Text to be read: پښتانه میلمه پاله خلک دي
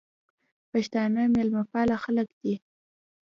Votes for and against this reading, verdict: 2, 0, accepted